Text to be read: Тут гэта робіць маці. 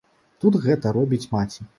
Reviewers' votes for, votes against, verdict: 2, 0, accepted